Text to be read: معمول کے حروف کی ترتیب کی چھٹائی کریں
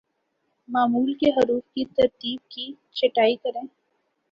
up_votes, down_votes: 2, 0